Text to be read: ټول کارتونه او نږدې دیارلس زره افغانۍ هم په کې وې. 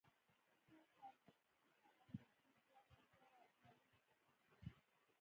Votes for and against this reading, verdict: 1, 2, rejected